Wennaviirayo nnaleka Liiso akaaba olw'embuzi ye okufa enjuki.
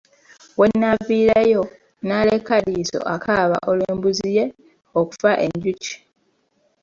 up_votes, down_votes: 1, 2